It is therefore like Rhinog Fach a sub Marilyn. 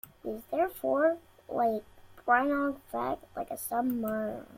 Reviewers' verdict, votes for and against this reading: rejected, 0, 2